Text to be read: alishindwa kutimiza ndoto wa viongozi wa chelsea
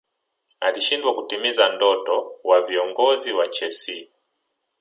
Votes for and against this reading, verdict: 0, 2, rejected